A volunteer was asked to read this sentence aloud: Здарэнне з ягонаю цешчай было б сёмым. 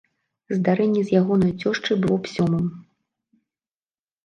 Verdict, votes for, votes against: rejected, 0, 3